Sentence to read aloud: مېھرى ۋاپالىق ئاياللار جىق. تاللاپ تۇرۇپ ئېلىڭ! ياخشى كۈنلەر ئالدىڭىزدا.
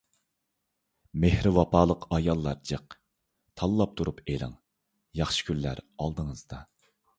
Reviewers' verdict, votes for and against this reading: accepted, 2, 0